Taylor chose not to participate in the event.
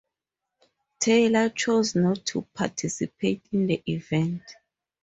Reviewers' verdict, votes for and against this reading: accepted, 4, 0